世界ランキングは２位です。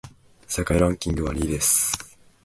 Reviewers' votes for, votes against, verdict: 0, 2, rejected